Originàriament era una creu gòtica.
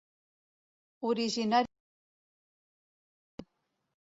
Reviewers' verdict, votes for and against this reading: rejected, 0, 2